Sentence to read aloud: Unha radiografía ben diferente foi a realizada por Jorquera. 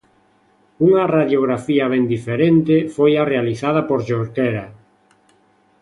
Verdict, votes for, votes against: accepted, 2, 1